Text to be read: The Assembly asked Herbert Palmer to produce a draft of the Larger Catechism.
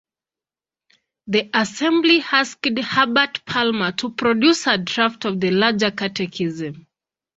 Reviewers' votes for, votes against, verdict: 3, 1, accepted